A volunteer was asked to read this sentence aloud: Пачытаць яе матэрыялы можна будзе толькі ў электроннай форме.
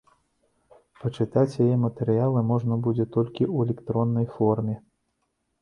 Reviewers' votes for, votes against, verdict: 2, 0, accepted